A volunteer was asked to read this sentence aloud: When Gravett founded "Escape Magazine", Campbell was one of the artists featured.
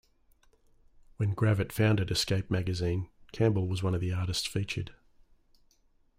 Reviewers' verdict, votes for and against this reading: accepted, 2, 0